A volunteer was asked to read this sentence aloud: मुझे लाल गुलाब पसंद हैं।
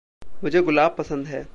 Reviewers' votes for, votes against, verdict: 1, 2, rejected